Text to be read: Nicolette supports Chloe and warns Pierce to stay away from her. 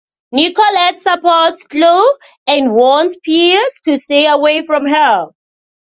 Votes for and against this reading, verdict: 1, 2, rejected